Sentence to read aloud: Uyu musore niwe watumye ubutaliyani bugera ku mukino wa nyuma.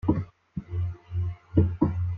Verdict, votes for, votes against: rejected, 0, 2